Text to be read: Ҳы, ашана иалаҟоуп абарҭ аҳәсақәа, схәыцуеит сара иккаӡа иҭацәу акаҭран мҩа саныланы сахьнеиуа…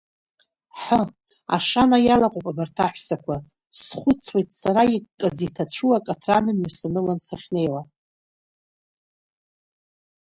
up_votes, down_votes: 1, 2